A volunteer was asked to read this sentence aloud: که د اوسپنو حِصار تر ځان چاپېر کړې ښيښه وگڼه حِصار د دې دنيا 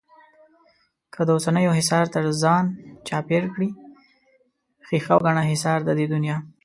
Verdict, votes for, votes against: rejected, 1, 2